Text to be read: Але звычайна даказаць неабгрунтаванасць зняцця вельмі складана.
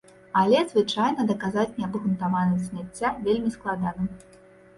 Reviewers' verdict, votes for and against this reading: accepted, 2, 0